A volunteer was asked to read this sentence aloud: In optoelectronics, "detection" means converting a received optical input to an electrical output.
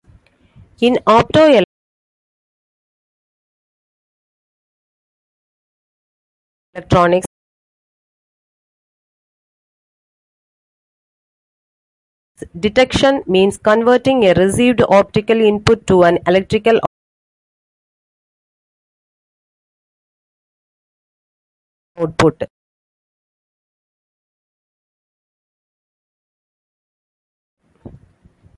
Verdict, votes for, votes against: rejected, 0, 2